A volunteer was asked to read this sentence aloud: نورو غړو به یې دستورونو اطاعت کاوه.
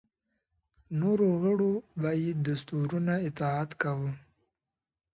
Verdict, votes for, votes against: accepted, 2, 0